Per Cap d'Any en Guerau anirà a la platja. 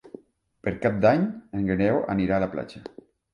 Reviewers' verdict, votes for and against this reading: rejected, 1, 2